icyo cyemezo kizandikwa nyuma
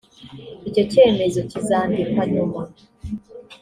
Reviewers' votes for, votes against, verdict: 2, 0, accepted